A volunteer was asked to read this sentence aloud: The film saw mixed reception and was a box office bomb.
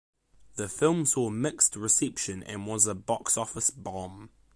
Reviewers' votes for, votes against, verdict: 2, 0, accepted